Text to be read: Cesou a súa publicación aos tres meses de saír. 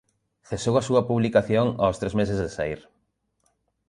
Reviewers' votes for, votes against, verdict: 1, 2, rejected